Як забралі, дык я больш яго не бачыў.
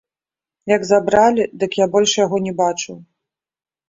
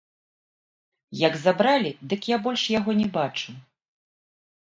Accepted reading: first